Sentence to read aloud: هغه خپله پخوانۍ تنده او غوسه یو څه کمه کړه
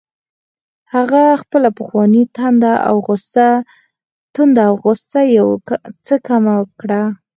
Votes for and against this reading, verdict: 2, 4, rejected